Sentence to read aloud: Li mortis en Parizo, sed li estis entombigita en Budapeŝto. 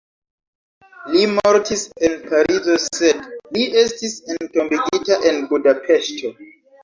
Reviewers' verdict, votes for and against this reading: accepted, 2, 0